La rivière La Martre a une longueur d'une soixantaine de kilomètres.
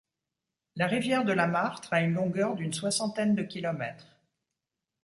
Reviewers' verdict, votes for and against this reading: rejected, 1, 2